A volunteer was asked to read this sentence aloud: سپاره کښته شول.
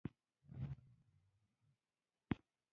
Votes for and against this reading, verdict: 0, 2, rejected